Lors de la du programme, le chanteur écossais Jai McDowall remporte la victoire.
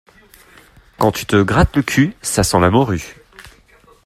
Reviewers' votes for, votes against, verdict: 0, 2, rejected